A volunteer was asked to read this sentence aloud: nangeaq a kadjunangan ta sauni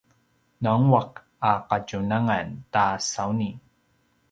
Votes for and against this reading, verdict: 2, 0, accepted